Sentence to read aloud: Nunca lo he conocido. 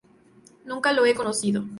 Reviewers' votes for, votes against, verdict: 2, 0, accepted